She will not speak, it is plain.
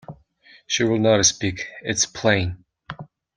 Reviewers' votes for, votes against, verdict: 0, 2, rejected